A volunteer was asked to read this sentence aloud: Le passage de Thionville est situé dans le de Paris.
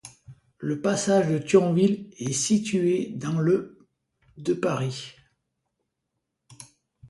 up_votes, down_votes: 2, 1